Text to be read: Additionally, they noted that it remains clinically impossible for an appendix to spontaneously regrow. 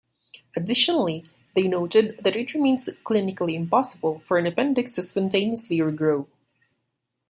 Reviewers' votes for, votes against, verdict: 2, 0, accepted